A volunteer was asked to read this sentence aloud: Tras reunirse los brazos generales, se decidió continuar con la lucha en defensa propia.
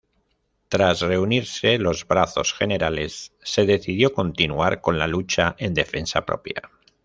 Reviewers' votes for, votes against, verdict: 2, 0, accepted